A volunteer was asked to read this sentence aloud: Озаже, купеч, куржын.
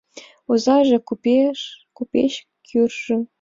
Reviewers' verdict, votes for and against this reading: rejected, 1, 2